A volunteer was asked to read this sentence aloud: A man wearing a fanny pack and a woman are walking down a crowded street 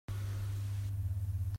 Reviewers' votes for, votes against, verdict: 0, 2, rejected